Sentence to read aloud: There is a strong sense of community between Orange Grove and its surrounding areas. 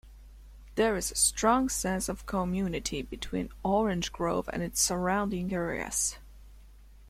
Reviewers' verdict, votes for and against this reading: accepted, 2, 0